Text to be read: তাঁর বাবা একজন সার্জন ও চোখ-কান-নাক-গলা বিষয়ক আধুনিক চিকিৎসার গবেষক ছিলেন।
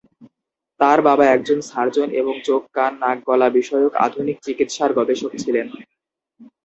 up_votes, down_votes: 2, 2